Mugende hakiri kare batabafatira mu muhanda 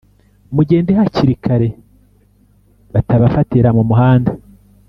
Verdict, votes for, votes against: accepted, 2, 0